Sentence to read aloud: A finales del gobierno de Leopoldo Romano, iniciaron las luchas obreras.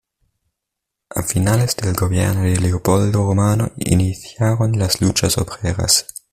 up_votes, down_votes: 2, 0